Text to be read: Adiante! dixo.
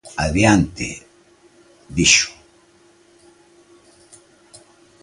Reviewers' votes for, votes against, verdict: 2, 0, accepted